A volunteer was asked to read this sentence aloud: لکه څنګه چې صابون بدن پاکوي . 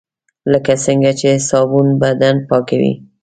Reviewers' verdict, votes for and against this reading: accepted, 2, 0